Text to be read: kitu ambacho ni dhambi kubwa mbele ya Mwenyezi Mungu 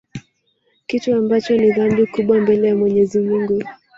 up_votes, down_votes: 0, 2